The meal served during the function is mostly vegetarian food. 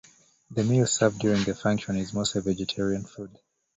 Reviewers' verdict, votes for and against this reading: accepted, 2, 0